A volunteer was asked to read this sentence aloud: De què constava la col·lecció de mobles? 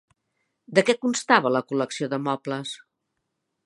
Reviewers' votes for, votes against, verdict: 4, 0, accepted